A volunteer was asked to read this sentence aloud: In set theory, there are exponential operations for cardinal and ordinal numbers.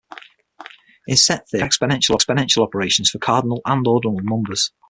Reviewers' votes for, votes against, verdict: 0, 6, rejected